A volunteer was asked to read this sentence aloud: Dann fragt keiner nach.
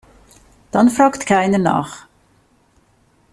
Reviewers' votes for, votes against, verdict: 2, 0, accepted